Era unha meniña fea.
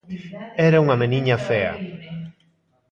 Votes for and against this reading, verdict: 2, 1, accepted